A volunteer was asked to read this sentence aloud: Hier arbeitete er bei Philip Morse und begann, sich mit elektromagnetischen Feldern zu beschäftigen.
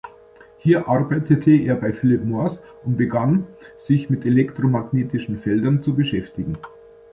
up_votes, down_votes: 0, 2